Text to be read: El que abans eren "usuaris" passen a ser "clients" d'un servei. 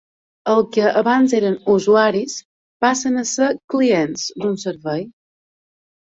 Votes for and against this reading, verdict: 2, 0, accepted